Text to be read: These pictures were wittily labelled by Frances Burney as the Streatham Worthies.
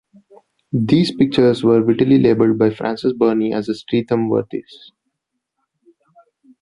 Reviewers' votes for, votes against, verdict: 2, 0, accepted